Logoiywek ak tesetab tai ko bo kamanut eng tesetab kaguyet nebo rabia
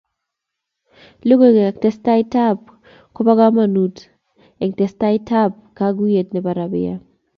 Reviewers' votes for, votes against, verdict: 2, 0, accepted